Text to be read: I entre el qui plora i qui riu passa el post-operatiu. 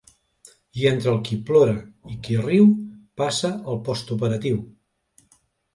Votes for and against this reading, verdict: 2, 0, accepted